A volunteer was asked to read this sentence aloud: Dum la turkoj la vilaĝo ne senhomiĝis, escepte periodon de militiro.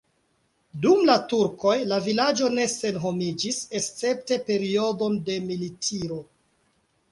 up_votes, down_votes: 2, 0